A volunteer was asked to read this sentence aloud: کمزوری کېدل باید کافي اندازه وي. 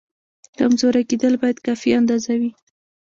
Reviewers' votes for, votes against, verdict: 0, 2, rejected